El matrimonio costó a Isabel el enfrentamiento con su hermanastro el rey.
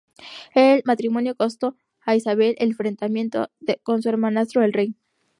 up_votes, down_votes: 0, 2